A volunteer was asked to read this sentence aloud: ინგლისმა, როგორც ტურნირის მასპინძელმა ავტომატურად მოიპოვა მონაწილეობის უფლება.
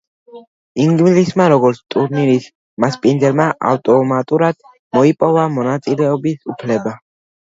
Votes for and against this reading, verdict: 2, 1, accepted